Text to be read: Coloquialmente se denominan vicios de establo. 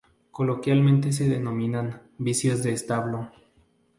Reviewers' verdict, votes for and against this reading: rejected, 0, 2